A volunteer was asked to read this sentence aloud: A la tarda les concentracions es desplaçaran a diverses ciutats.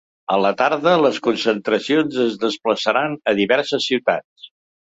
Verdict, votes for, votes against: accepted, 3, 0